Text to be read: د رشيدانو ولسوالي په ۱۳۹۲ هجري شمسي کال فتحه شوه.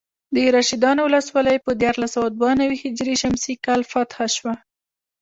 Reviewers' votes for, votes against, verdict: 0, 2, rejected